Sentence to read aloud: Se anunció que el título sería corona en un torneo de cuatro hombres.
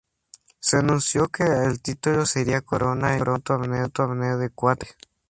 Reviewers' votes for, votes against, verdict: 0, 2, rejected